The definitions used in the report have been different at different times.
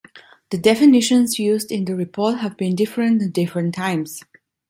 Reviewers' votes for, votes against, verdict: 2, 1, accepted